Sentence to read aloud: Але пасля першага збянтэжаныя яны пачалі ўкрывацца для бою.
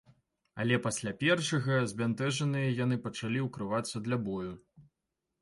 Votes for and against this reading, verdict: 2, 0, accepted